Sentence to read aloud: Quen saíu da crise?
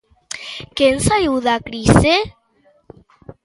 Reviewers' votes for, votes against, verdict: 1, 2, rejected